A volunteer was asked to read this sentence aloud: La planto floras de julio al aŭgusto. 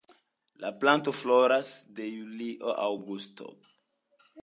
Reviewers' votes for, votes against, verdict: 2, 0, accepted